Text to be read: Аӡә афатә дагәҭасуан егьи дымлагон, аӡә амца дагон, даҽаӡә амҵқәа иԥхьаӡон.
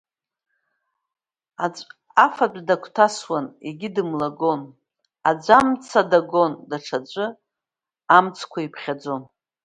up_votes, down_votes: 2, 0